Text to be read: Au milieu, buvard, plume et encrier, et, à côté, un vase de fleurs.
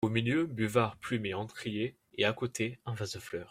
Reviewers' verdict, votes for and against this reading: accepted, 2, 0